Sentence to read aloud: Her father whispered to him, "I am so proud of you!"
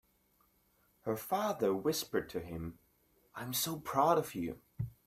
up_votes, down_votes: 3, 0